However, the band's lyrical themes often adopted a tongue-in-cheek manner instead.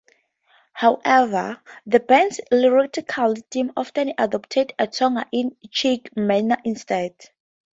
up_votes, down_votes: 0, 4